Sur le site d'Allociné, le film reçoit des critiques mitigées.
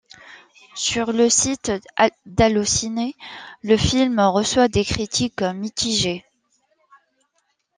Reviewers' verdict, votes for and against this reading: accepted, 2, 1